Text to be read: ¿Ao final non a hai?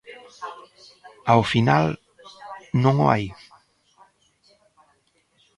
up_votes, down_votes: 0, 2